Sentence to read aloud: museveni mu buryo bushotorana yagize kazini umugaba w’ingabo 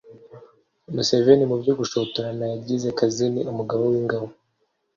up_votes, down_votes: 2, 0